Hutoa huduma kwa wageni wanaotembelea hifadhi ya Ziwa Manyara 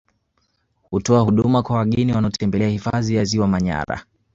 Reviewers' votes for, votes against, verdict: 2, 0, accepted